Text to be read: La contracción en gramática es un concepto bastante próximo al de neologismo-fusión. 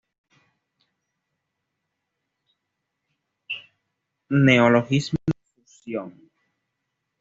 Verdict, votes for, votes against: rejected, 1, 2